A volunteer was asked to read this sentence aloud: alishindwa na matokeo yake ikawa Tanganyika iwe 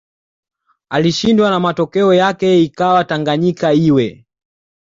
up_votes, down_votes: 2, 0